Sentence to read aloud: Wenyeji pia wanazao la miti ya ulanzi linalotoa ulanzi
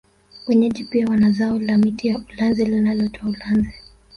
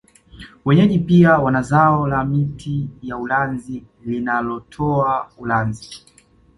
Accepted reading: first